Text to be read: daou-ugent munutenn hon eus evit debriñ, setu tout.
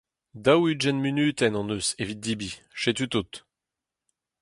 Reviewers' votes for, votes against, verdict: 4, 0, accepted